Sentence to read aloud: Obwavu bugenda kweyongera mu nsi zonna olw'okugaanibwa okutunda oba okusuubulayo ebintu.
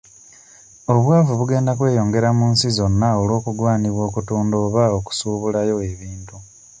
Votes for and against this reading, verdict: 2, 1, accepted